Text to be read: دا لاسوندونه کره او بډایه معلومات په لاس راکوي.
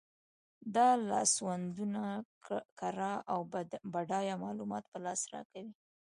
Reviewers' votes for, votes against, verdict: 2, 1, accepted